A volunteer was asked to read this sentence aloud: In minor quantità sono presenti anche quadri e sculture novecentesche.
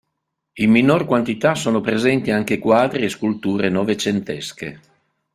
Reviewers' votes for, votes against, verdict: 3, 0, accepted